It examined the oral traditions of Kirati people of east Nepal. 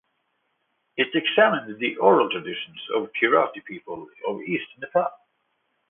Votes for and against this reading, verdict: 2, 0, accepted